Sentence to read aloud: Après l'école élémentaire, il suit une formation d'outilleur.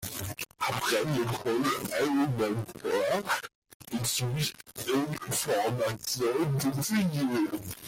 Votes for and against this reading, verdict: 1, 2, rejected